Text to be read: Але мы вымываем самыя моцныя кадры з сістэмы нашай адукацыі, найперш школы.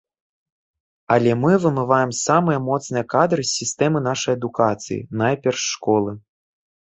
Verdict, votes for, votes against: rejected, 0, 2